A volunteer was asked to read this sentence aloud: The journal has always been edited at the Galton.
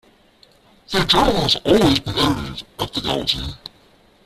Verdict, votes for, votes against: rejected, 0, 2